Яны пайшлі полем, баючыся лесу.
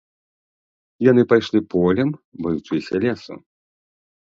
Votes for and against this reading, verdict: 2, 0, accepted